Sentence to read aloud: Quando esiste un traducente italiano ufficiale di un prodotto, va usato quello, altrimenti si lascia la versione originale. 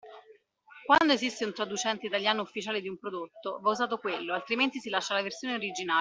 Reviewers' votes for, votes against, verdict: 0, 2, rejected